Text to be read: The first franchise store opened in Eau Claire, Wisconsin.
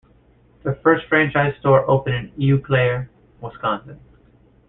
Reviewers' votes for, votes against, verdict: 2, 0, accepted